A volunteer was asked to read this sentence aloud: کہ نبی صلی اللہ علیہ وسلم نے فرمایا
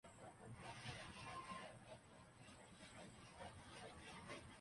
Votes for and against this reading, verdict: 0, 2, rejected